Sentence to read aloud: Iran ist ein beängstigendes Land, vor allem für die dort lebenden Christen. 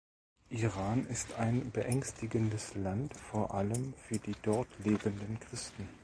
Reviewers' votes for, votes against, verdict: 2, 0, accepted